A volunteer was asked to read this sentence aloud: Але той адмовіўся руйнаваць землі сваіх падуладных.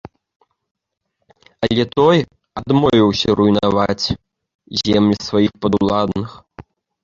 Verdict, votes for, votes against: rejected, 0, 2